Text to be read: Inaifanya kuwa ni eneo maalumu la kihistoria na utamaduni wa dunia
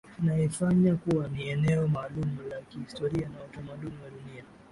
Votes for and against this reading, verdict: 11, 5, accepted